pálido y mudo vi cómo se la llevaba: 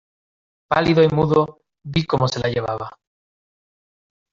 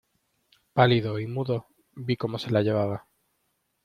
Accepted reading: second